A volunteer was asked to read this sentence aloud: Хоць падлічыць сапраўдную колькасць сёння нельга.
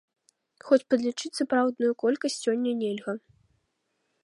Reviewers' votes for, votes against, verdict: 2, 0, accepted